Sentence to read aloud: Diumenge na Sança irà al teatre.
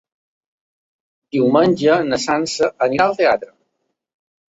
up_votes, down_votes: 1, 2